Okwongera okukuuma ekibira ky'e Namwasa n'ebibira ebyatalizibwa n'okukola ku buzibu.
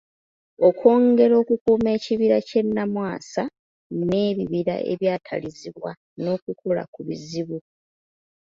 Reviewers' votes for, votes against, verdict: 1, 2, rejected